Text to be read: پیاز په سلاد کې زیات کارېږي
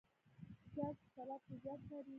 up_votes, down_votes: 1, 2